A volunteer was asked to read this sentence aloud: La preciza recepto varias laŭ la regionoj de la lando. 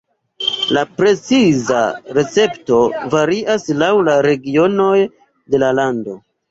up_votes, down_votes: 2, 0